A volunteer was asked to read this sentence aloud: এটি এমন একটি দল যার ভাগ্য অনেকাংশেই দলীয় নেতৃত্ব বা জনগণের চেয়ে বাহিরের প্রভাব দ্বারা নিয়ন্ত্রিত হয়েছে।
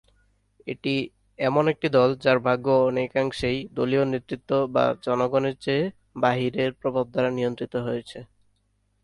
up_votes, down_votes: 2, 0